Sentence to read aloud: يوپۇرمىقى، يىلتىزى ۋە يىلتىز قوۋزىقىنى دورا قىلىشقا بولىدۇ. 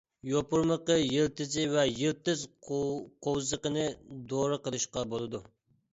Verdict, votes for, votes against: accepted, 2, 1